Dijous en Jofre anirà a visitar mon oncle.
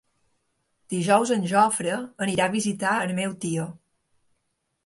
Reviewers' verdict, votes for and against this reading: rejected, 0, 2